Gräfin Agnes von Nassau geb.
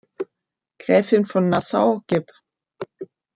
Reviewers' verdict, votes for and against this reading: rejected, 0, 3